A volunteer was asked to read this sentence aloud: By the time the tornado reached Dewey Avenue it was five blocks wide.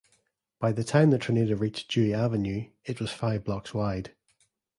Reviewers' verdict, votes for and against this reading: rejected, 1, 2